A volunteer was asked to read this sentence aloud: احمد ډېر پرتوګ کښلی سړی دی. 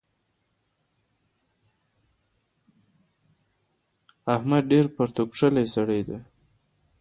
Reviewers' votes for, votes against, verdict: 0, 2, rejected